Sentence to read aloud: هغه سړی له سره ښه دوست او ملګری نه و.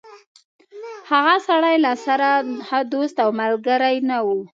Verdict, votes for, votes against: rejected, 0, 2